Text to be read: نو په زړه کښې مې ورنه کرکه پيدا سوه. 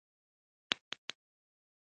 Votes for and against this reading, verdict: 1, 2, rejected